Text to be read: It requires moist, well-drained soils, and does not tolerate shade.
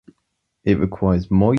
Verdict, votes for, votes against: rejected, 1, 2